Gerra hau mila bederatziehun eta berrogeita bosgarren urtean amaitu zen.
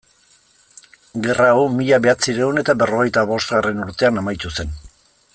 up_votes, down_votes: 1, 2